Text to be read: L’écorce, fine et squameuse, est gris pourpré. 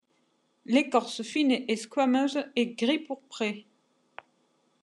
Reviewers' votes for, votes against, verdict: 2, 0, accepted